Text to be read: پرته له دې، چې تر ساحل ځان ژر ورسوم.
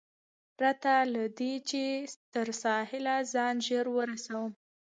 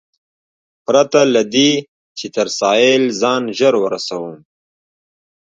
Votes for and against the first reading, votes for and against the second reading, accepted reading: 1, 2, 2, 0, second